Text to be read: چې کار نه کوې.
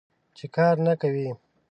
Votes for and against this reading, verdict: 2, 0, accepted